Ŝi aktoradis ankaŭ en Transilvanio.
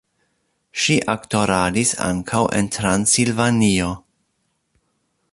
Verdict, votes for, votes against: accepted, 2, 0